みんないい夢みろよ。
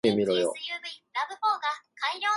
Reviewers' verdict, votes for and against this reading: rejected, 1, 2